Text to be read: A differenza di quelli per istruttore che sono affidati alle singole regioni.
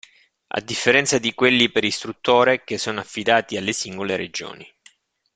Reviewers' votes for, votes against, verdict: 2, 0, accepted